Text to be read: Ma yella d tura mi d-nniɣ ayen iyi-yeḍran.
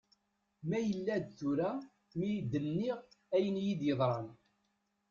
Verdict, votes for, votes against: accepted, 2, 1